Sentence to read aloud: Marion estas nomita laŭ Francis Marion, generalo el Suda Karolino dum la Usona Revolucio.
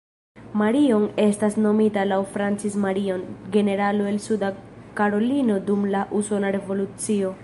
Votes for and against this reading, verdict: 2, 3, rejected